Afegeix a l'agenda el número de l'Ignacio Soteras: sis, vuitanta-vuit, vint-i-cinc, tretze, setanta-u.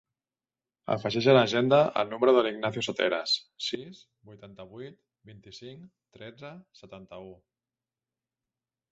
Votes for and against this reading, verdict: 1, 2, rejected